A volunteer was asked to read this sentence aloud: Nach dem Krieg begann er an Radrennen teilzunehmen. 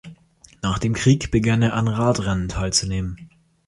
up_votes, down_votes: 2, 0